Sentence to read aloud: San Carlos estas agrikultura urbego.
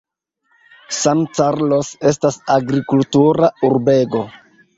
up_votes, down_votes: 2, 0